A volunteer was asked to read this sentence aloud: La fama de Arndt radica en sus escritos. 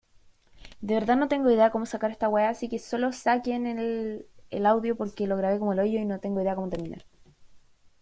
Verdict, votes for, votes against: rejected, 0, 2